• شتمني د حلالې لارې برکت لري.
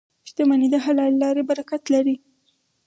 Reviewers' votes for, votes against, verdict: 4, 0, accepted